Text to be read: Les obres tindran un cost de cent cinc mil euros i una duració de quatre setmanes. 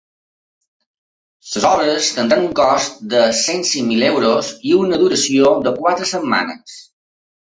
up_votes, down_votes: 0, 2